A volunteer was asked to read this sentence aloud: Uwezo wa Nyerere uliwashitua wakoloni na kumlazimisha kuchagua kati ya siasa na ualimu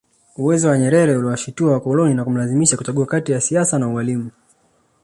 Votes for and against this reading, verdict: 2, 0, accepted